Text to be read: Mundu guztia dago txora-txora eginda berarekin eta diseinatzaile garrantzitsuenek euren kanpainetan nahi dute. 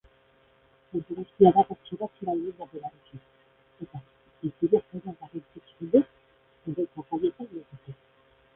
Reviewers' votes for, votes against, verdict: 0, 3, rejected